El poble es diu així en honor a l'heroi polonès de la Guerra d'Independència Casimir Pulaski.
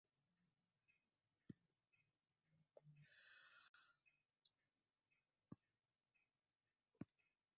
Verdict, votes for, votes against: rejected, 0, 2